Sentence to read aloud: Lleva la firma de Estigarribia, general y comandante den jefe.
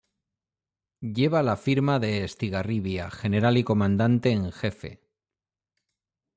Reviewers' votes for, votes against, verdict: 1, 2, rejected